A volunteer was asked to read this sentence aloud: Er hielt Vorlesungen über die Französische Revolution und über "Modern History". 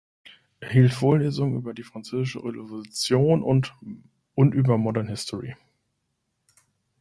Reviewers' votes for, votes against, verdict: 0, 2, rejected